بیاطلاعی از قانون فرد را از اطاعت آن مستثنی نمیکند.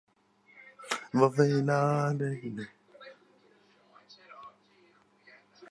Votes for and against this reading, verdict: 0, 2, rejected